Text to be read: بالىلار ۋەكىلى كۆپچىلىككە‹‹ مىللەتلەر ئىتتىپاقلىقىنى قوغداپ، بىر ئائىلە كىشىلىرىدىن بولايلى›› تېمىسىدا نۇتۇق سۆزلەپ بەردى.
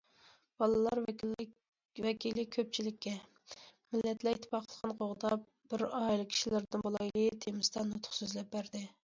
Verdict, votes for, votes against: rejected, 0, 2